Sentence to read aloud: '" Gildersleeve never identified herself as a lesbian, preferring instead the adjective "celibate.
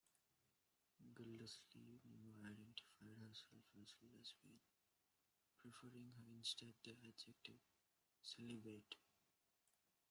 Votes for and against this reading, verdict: 0, 2, rejected